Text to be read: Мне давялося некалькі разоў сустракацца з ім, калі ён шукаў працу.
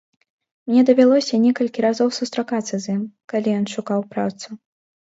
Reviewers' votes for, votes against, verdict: 2, 0, accepted